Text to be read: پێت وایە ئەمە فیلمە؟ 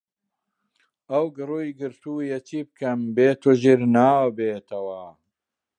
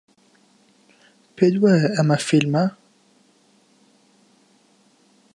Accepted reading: second